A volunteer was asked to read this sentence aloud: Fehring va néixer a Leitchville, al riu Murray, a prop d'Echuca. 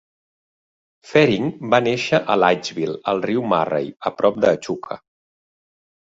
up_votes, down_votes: 2, 1